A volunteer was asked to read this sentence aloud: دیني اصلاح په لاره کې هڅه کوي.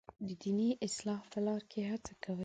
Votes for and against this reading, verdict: 2, 0, accepted